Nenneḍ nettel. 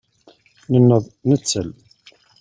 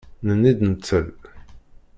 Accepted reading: first